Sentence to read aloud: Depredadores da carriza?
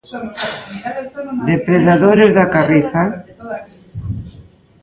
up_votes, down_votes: 0, 2